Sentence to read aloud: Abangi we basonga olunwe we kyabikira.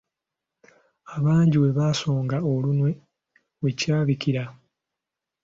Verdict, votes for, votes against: accepted, 2, 0